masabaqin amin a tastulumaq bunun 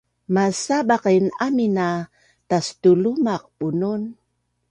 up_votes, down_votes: 2, 0